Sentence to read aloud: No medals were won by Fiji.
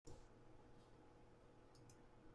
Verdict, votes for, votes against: rejected, 0, 2